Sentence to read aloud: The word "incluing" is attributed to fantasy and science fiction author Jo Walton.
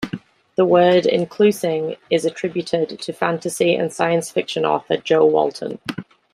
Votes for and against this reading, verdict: 0, 2, rejected